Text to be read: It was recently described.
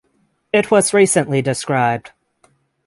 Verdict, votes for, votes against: rejected, 3, 3